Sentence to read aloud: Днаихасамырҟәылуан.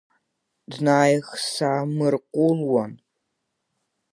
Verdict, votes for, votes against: rejected, 2, 3